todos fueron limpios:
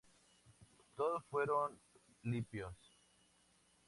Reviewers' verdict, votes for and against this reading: accepted, 2, 0